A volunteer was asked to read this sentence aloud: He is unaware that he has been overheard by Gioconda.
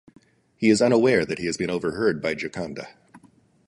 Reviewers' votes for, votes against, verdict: 2, 0, accepted